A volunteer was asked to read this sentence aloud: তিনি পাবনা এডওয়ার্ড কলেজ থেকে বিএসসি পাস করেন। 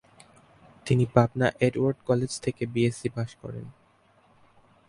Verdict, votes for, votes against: accepted, 4, 0